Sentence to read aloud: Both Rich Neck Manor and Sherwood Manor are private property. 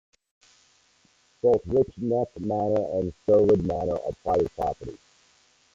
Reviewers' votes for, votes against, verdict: 1, 2, rejected